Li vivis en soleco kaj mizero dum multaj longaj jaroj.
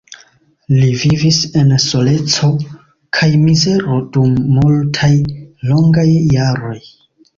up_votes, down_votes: 2, 0